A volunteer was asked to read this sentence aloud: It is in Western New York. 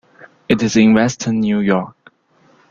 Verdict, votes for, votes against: accepted, 2, 0